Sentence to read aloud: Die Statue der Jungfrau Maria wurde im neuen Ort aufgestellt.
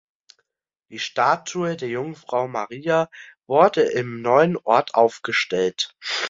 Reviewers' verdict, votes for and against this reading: accepted, 2, 1